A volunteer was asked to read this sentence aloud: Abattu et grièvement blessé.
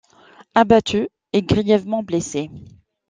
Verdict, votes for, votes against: accepted, 2, 0